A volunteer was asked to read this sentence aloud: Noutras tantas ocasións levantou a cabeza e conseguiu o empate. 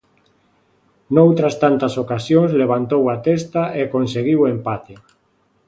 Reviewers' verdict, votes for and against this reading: rejected, 0, 2